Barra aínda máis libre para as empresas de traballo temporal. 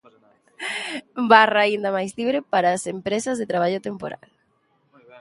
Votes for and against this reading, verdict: 1, 2, rejected